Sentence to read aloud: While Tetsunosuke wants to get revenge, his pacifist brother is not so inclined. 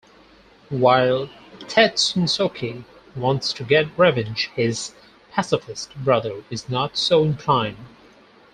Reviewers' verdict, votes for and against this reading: accepted, 4, 0